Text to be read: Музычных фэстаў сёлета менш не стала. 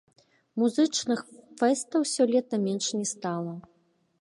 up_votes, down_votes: 0, 2